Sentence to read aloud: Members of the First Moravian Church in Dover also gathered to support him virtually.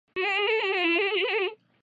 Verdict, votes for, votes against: rejected, 0, 2